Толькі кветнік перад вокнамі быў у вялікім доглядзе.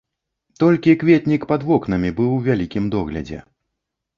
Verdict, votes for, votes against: rejected, 0, 2